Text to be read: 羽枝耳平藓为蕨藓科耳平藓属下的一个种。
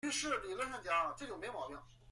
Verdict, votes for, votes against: rejected, 0, 2